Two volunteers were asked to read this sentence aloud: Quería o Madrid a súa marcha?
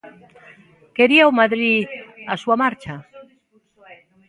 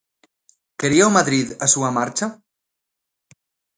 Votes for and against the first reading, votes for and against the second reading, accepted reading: 1, 2, 2, 0, second